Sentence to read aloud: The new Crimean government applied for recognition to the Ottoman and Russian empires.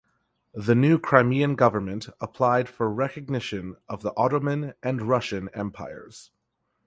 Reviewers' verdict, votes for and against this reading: rejected, 0, 2